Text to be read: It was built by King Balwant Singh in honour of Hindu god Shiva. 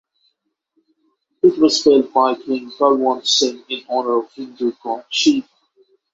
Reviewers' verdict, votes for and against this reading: accepted, 6, 3